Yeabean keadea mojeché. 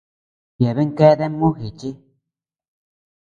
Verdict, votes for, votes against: accepted, 2, 0